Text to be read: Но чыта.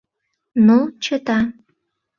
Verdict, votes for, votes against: accepted, 2, 0